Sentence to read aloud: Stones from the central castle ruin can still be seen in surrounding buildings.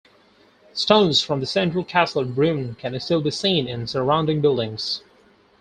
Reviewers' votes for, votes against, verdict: 4, 0, accepted